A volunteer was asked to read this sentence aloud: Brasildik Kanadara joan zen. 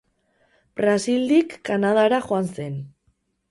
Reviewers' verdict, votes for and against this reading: accepted, 4, 0